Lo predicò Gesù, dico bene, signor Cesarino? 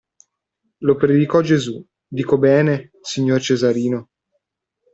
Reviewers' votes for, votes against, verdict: 2, 0, accepted